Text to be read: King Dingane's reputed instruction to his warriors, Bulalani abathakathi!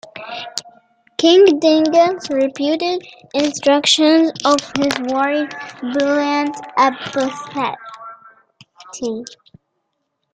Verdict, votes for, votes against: rejected, 1, 2